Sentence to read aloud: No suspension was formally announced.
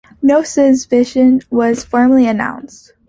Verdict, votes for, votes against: rejected, 0, 2